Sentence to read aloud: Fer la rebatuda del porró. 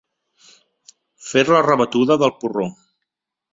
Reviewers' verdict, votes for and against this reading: accepted, 2, 0